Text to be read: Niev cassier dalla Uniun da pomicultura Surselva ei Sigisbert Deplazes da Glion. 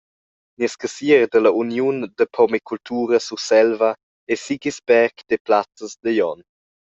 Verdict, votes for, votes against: rejected, 1, 2